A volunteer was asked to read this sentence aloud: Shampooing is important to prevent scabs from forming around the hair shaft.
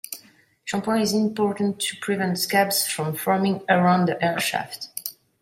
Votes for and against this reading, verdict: 2, 1, accepted